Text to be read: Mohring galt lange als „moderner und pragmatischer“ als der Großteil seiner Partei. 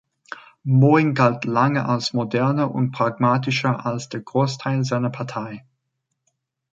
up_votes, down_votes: 2, 0